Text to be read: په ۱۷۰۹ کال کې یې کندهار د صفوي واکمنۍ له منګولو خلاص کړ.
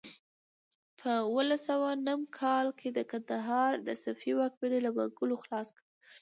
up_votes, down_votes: 0, 2